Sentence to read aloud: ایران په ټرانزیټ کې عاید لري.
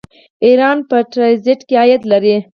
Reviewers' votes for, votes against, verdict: 0, 4, rejected